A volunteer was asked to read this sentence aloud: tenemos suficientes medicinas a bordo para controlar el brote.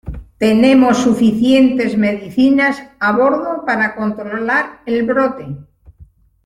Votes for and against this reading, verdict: 2, 0, accepted